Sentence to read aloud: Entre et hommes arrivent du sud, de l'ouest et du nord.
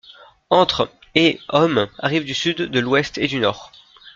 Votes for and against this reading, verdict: 2, 0, accepted